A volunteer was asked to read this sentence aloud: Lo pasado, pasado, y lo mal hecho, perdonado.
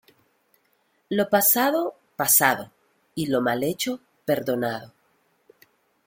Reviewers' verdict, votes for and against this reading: accepted, 2, 0